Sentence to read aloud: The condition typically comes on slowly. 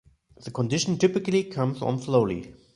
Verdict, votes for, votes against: accepted, 2, 0